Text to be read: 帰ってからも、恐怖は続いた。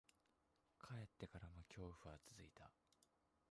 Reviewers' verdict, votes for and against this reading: rejected, 1, 2